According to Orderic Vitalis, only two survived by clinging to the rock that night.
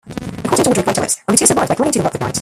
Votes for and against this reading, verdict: 0, 2, rejected